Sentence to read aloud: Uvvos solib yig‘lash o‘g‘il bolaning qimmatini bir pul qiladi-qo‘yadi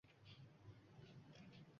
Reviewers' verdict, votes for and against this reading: rejected, 1, 2